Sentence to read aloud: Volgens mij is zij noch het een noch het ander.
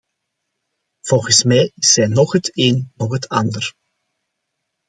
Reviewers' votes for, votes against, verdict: 2, 0, accepted